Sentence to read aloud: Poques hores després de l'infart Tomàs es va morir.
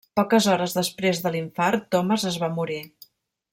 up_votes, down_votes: 1, 2